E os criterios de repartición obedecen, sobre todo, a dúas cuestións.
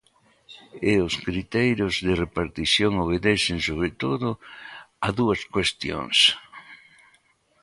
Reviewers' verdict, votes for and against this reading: rejected, 0, 2